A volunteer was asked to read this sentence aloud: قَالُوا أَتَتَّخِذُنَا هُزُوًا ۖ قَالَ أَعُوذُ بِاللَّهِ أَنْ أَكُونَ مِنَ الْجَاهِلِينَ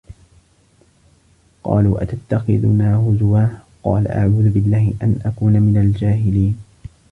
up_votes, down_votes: 2, 0